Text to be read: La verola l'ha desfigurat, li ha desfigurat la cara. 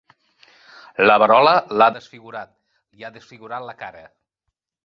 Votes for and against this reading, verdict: 3, 0, accepted